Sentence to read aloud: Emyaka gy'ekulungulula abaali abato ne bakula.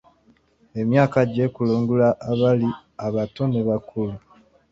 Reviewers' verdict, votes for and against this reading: rejected, 1, 2